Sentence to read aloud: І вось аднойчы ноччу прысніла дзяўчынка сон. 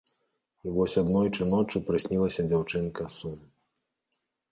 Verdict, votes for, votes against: rejected, 1, 2